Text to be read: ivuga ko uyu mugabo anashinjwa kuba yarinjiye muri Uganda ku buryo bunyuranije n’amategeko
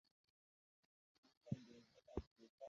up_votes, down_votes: 0, 2